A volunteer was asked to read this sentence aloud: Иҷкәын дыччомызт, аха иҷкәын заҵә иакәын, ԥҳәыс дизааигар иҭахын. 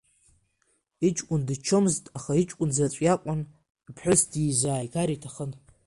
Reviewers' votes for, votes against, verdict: 2, 1, accepted